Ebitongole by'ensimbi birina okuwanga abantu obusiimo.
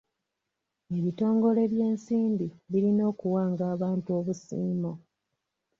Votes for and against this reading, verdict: 1, 2, rejected